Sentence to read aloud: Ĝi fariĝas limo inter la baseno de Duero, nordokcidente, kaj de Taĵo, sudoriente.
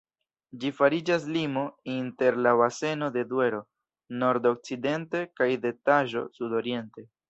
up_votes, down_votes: 2, 0